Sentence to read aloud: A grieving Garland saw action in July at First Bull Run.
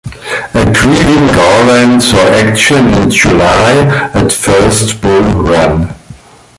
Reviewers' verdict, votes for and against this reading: accepted, 2, 0